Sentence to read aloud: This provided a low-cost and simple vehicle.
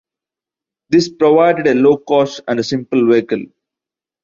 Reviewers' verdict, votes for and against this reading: rejected, 1, 2